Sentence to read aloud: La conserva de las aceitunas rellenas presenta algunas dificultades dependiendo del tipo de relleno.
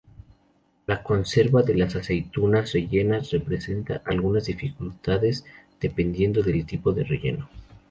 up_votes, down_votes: 0, 2